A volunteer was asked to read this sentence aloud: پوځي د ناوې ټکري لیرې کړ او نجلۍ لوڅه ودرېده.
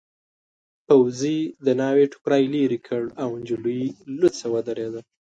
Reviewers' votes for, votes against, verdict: 5, 1, accepted